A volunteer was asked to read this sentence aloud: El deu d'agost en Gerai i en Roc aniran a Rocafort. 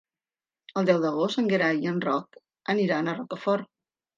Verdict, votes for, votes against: accepted, 2, 1